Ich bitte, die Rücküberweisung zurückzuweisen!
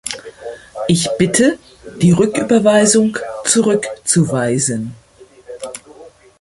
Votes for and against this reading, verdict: 1, 2, rejected